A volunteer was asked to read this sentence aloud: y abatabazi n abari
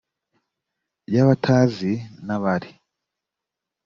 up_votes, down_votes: 0, 2